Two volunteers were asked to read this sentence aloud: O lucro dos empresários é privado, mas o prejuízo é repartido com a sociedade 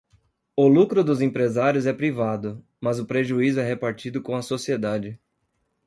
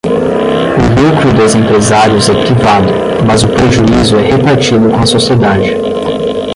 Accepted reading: first